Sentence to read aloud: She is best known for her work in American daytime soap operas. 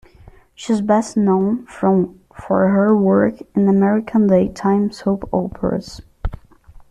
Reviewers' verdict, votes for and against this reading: rejected, 1, 2